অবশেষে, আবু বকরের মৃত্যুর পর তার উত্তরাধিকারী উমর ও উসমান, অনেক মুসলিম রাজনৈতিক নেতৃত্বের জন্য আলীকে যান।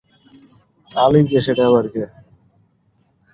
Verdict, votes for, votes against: rejected, 0, 2